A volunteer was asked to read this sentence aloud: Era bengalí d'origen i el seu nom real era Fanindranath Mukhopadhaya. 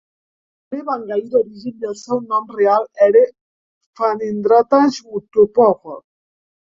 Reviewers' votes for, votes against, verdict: 0, 3, rejected